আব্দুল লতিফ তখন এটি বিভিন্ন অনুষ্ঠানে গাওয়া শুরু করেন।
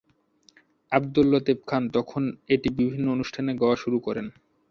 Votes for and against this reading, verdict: 0, 2, rejected